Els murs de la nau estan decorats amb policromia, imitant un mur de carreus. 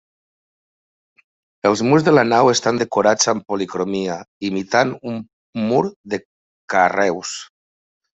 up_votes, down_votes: 3, 1